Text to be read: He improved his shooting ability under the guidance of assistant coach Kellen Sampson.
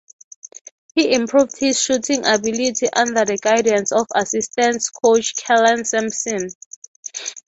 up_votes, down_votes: 3, 0